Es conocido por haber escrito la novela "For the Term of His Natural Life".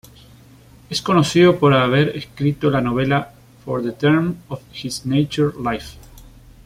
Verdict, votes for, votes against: rejected, 1, 2